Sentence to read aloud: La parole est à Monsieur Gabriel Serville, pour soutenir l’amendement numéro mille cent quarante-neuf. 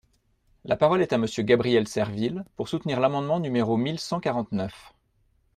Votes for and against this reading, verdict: 2, 0, accepted